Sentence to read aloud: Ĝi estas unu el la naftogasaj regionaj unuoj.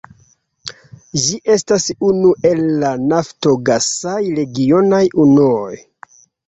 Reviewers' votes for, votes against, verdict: 1, 2, rejected